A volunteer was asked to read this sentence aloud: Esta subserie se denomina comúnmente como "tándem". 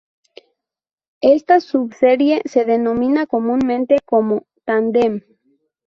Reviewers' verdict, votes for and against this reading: accepted, 4, 0